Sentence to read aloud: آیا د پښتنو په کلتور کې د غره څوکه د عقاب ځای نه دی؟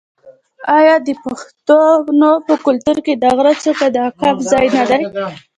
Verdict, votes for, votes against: accepted, 2, 0